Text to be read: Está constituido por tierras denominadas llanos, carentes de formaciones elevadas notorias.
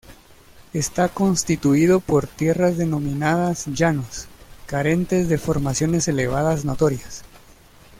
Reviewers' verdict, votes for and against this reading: accepted, 2, 0